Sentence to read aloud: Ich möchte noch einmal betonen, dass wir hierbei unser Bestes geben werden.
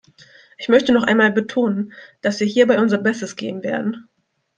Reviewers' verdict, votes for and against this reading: accepted, 2, 1